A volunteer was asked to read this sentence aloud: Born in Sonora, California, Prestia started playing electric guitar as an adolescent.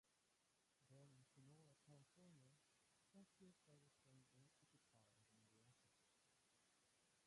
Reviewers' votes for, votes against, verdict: 0, 3, rejected